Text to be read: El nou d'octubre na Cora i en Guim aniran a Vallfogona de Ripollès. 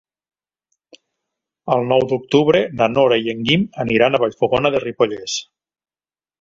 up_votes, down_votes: 0, 2